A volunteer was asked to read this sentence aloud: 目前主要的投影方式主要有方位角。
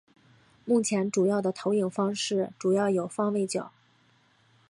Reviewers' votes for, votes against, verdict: 5, 0, accepted